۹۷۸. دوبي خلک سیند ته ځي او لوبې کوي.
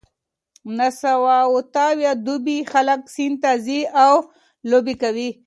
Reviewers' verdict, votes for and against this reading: rejected, 0, 2